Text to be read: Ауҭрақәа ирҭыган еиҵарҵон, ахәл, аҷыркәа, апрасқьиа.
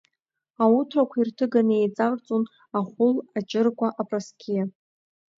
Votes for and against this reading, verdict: 3, 1, accepted